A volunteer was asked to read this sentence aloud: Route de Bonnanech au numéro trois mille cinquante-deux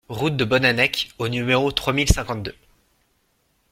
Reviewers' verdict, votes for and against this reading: accepted, 2, 0